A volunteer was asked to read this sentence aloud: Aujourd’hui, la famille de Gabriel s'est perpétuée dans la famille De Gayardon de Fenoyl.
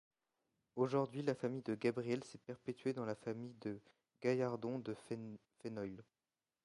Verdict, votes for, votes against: rejected, 0, 2